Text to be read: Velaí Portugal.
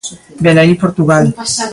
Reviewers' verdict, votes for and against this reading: accepted, 2, 1